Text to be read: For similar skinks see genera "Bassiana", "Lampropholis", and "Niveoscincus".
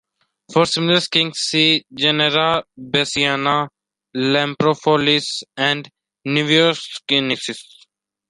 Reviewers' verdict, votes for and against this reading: rejected, 2, 3